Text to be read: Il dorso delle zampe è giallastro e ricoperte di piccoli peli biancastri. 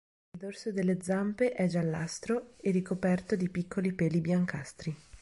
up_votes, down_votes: 1, 2